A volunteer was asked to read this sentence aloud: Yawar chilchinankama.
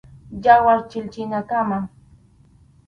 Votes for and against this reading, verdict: 2, 2, rejected